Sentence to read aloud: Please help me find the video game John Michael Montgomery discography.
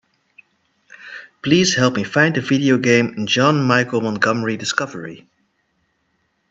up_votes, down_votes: 0, 2